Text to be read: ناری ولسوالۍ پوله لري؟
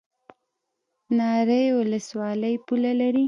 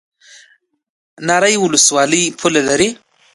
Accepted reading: second